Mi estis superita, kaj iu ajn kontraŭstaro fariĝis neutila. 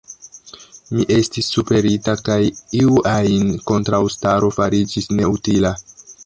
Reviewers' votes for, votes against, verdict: 1, 2, rejected